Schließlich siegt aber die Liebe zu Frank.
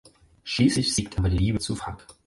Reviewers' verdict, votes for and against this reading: accepted, 4, 0